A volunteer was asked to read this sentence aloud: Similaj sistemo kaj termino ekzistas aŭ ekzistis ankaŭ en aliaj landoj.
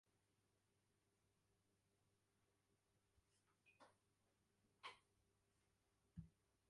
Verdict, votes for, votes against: rejected, 1, 2